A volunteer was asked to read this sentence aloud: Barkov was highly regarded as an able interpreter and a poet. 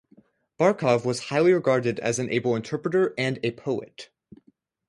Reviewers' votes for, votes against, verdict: 0, 2, rejected